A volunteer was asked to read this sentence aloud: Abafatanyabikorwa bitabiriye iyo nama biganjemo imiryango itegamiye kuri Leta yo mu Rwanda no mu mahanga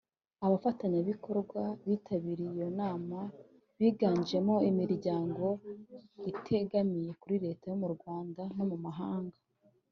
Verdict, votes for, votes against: accepted, 3, 0